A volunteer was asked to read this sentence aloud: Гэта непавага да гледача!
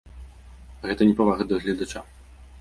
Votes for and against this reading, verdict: 1, 2, rejected